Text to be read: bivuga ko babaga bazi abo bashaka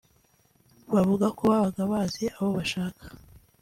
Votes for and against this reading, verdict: 2, 0, accepted